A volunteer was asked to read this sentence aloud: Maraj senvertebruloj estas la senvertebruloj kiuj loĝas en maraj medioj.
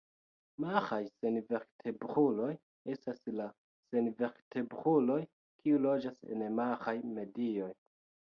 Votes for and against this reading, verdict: 0, 2, rejected